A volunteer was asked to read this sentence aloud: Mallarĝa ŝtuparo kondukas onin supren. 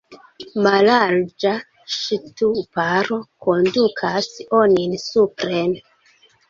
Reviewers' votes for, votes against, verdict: 1, 2, rejected